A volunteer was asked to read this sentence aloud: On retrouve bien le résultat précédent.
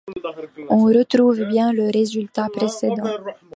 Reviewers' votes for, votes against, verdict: 2, 0, accepted